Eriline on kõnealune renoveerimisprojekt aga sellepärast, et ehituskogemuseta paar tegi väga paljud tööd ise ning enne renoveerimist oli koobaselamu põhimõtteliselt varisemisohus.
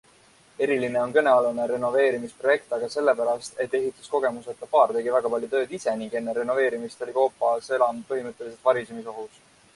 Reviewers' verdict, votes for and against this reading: accepted, 2, 1